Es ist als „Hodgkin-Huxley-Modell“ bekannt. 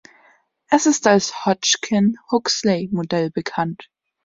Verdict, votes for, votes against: accepted, 2, 1